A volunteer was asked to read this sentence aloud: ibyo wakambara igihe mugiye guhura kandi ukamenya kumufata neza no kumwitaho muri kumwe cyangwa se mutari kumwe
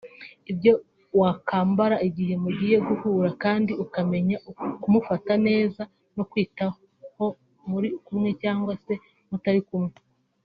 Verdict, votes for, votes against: rejected, 0, 2